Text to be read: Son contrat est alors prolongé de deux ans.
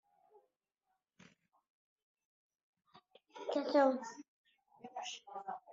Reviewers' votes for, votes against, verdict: 0, 2, rejected